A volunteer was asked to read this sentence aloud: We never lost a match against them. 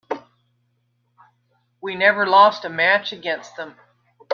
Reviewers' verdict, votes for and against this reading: accepted, 2, 0